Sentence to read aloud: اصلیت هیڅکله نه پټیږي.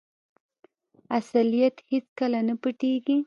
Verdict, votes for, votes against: accepted, 2, 0